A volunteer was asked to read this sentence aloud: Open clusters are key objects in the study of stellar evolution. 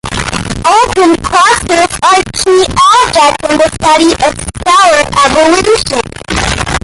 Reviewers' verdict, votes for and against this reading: rejected, 0, 2